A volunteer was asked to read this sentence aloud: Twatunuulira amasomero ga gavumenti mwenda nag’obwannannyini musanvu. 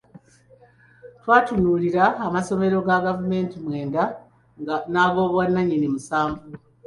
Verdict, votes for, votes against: accepted, 2, 0